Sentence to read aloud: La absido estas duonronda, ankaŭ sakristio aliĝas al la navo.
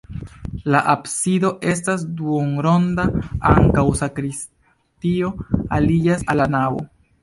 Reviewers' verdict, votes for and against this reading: accepted, 2, 1